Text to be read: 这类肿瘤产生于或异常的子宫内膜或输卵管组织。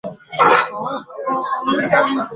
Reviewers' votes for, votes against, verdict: 0, 2, rejected